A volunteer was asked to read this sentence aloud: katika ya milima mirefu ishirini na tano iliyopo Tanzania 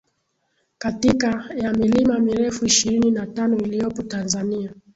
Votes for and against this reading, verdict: 0, 2, rejected